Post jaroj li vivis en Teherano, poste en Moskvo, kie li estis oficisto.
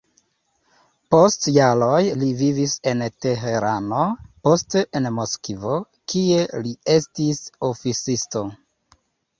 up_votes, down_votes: 1, 2